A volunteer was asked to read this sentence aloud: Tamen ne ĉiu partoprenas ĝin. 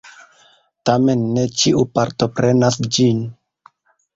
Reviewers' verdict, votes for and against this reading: accepted, 2, 0